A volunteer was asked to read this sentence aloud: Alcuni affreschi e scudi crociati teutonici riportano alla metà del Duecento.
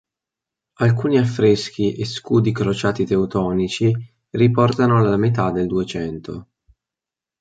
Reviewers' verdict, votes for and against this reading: accepted, 3, 0